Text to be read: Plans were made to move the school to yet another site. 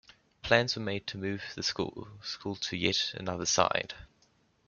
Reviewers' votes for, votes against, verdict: 2, 0, accepted